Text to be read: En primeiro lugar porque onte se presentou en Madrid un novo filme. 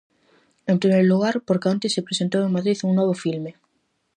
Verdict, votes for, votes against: accepted, 4, 0